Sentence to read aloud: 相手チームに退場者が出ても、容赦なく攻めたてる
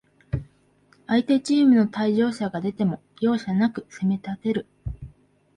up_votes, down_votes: 2, 2